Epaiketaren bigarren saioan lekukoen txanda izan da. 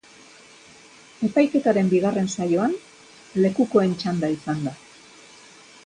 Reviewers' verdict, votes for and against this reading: accepted, 2, 1